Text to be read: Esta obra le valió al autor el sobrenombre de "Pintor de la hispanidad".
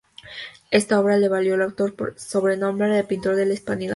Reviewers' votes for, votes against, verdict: 0, 2, rejected